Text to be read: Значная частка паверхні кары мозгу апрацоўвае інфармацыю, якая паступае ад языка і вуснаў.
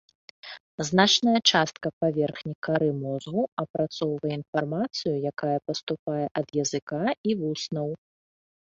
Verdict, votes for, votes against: accepted, 3, 0